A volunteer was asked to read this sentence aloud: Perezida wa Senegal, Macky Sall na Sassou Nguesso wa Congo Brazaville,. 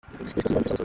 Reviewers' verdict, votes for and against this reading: rejected, 0, 2